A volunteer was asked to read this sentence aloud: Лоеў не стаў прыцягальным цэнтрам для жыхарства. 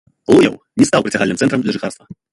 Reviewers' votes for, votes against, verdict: 1, 2, rejected